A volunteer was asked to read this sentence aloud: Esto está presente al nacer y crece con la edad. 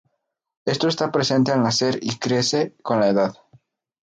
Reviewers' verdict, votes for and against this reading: accepted, 2, 0